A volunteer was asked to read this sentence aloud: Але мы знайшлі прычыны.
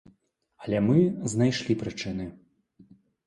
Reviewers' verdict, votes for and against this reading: accepted, 2, 0